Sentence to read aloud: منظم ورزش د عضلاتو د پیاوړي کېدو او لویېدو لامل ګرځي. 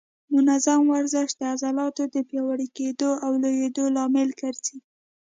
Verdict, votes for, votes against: accepted, 2, 0